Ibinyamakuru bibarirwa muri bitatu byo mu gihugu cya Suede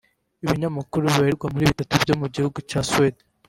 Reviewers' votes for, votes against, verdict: 3, 0, accepted